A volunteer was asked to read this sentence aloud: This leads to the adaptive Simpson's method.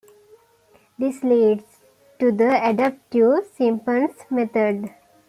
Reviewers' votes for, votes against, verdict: 2, 1, accepted